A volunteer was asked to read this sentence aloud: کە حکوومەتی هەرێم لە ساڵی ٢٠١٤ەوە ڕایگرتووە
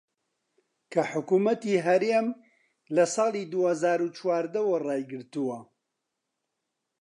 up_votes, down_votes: 0, 2